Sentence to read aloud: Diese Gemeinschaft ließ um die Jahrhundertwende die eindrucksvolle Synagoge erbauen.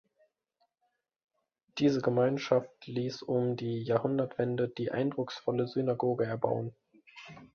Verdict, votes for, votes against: accepted, 2, 0